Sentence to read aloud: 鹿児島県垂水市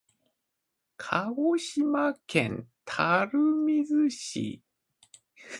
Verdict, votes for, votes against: accepted, 2, 1